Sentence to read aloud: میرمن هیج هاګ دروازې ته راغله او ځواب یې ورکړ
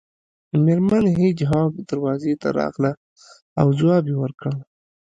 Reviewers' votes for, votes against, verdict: 2, 0, accepted